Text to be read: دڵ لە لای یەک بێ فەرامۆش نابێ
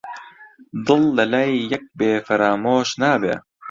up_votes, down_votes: 2, 0